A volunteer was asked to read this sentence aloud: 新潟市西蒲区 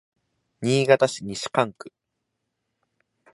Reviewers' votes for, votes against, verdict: 2, 0, accepted